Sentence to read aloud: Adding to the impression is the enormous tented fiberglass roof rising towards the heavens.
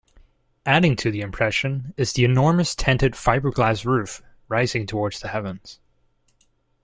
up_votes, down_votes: 2, 0